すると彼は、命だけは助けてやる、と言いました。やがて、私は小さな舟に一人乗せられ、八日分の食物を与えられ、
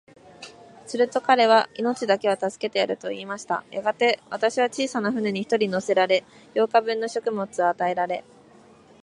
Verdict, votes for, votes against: accepted, 2, 0